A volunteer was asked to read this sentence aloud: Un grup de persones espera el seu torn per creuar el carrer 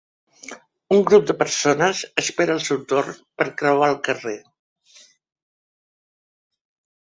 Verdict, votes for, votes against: accepted, 3, 0